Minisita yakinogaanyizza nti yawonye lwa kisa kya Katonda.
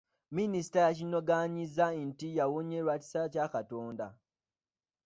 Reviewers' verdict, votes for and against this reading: rejected, 0, 2